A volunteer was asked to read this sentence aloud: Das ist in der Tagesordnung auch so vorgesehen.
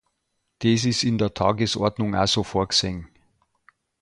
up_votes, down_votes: 0, 2